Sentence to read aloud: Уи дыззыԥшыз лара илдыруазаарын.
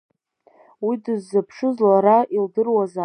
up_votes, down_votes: 0, 2